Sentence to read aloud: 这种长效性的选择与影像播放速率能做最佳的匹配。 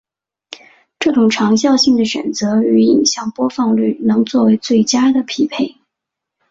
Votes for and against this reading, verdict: 0, 2, rejected